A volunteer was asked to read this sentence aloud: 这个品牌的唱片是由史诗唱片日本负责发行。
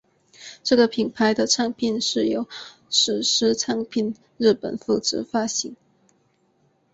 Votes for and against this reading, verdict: 5, 0, accepted